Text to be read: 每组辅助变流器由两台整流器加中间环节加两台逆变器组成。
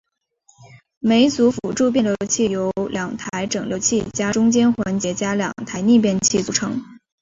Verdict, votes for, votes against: accepted, 3, 0